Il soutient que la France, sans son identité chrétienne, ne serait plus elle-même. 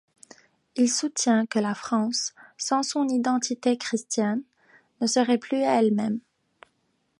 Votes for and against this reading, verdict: 1, 2, rejected